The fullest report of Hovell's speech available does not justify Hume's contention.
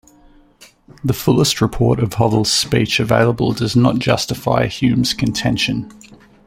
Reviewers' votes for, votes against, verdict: 2, 0, accepted